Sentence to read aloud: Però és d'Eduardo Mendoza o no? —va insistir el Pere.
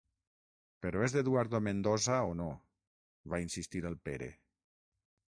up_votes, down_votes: 3, 6